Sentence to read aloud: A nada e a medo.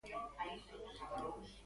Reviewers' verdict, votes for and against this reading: rejected, 0, 2